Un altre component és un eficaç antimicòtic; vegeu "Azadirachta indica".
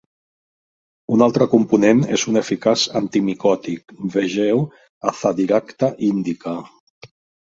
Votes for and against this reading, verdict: 1, 2, rejected